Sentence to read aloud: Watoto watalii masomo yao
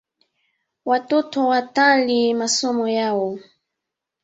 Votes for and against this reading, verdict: 3, 0, accepted